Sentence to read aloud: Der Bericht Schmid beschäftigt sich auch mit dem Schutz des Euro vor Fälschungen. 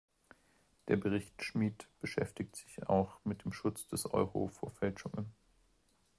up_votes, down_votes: 2, 0